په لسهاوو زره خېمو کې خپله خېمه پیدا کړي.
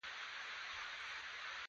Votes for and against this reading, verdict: 2, 1, accepted